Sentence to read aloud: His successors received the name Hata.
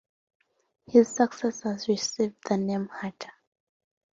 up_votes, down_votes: 2, 0